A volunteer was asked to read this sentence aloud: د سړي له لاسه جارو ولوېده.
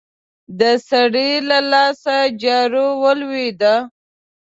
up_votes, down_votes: 2, 0